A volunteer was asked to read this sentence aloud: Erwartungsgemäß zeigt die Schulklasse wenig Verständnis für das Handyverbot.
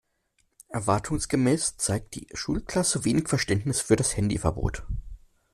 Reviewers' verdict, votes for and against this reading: accepted, 2, 0